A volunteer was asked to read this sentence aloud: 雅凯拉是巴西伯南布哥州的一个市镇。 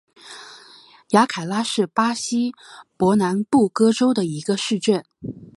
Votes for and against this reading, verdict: 5, 1, accepted